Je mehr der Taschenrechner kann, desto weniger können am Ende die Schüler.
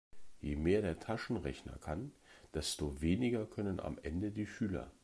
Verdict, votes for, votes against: accepted, 2, 0